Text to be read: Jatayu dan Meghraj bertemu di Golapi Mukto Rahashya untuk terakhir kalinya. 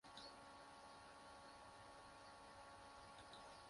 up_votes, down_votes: 0, 2